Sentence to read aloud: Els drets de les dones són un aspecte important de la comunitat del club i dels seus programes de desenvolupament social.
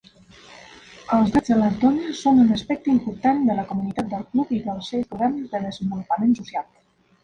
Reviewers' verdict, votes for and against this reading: rejected, 0, 2